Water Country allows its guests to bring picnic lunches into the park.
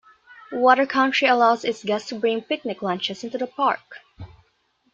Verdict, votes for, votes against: accepted, 2, 1